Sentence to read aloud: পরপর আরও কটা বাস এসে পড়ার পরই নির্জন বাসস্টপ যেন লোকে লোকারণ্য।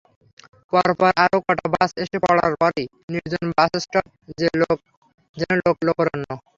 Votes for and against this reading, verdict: 0, 3, rejected